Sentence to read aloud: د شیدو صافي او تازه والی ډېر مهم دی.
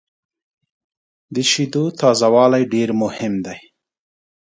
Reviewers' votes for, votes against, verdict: 1, 2, rejected